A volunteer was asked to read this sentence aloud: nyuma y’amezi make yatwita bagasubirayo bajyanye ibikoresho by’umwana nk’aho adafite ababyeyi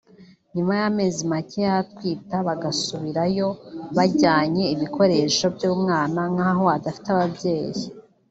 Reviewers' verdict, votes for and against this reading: rejected, 1, 2